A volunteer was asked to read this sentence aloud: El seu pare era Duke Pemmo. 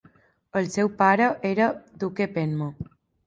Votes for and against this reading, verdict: 1, 2, rejected